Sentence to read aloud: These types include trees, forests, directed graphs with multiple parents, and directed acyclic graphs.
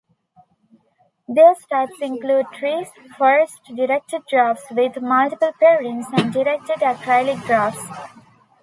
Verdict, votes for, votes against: rejected, 0, 2